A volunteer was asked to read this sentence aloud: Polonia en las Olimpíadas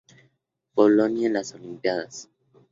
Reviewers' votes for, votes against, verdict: 2, 0, accepted